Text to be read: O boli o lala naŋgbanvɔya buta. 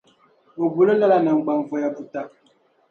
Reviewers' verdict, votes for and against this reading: accepted, 2, 0